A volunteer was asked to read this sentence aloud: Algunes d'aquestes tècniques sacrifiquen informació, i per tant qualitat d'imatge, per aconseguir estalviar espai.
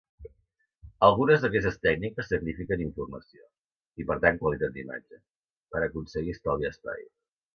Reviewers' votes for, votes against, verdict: 2, 1, accepted